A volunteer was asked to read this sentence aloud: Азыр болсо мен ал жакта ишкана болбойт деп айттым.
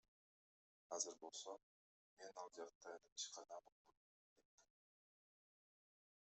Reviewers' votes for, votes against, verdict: 0, 2, rejected